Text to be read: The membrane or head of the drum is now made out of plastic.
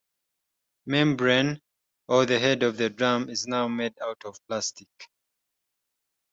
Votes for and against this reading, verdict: 0, 2, rejected